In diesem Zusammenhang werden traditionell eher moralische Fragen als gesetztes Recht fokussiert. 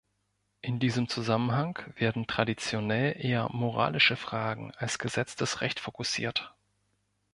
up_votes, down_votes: 3, 0